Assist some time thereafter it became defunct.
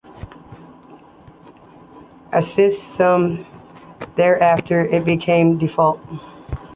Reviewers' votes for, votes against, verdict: 1, 2, rejected